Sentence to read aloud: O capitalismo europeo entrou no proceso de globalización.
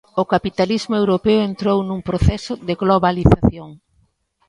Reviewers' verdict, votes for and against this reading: rejected, 0, 2